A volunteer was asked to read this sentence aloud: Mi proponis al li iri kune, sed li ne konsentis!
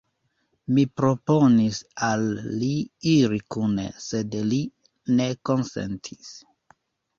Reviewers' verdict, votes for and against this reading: rejected, 1, 2